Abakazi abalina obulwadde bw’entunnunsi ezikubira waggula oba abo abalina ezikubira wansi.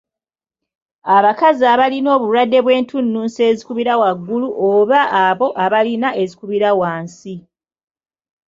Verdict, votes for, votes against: rejected, 0, 2